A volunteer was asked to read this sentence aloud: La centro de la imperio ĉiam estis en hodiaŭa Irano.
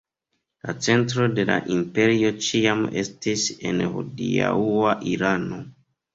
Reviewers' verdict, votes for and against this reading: rejected, 1, 2